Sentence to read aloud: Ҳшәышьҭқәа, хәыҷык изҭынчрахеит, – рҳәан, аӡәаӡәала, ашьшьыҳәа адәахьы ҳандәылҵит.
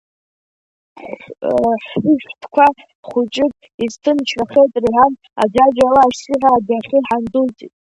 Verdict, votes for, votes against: rejected, 0, 2